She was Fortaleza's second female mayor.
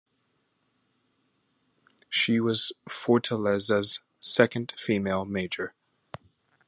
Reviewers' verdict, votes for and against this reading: rejected, 0, 2